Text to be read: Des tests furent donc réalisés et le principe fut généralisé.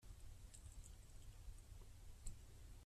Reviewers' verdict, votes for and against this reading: rejected, 0, 2